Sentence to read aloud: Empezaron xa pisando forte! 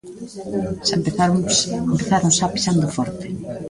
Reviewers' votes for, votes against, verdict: 0, 2, rejected